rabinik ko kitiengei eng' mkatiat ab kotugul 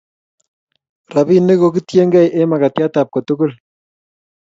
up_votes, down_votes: 2, 0